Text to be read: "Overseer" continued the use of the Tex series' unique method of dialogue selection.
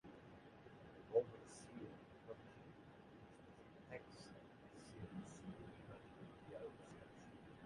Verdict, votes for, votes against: rejected, 1, 2